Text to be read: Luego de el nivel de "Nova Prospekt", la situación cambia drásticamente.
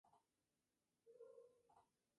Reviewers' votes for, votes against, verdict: 2, 4, rejected